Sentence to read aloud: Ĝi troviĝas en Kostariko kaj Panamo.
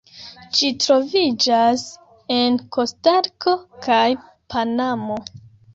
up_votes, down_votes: 0, 2